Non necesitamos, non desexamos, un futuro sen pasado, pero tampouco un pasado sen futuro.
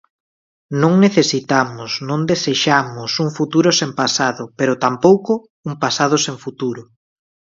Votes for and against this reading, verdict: 3, 0, accepted